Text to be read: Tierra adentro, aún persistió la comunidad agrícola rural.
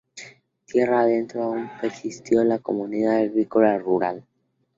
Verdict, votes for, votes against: accepted, 2, 0